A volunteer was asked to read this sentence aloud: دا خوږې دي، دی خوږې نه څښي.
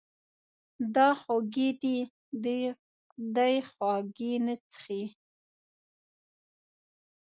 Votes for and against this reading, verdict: 2, 0, accepted